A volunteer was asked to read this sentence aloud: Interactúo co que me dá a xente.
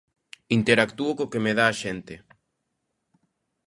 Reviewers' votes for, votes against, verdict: 2, 0, accepted